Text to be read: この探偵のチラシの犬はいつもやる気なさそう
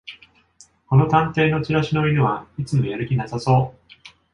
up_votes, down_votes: 2, 0